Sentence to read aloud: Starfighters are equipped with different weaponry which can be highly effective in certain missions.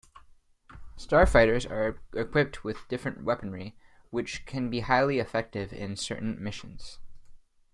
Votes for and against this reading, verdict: 2, 0, accepted